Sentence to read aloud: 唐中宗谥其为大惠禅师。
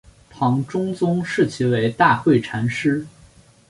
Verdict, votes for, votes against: accepted, 5, 0